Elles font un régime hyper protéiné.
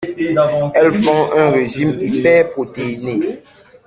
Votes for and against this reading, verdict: 2, 0, accepted